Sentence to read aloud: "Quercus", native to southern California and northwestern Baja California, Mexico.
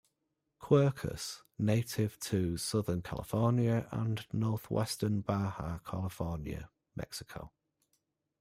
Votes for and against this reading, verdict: 1, 2, rejected